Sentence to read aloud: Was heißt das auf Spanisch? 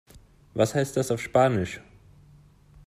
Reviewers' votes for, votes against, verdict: 2, 0, accepted